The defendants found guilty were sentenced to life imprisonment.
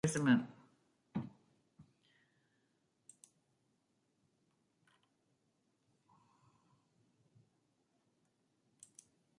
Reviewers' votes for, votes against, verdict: 0, 2, rejected